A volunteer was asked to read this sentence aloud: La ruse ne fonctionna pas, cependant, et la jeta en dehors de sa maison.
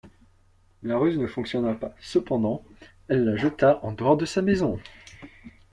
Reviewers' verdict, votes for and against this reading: rejected, 1, 2